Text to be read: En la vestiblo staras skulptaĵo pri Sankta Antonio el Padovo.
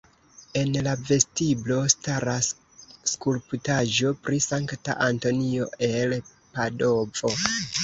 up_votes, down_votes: 1, 2